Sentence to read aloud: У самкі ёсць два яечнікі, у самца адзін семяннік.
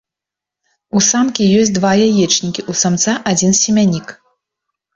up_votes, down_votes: 3, 0